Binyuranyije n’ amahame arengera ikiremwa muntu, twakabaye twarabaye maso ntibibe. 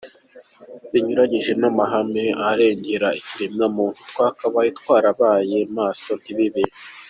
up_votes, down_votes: 2, 1